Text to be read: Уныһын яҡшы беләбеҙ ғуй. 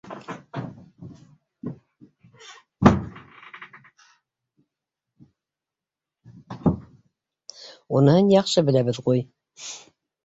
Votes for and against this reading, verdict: 0, 2, rejected